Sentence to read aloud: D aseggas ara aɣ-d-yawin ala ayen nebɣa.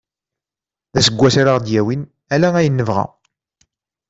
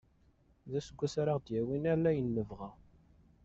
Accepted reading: first